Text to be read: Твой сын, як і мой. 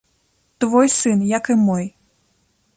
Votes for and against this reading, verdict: 2, 0, accepted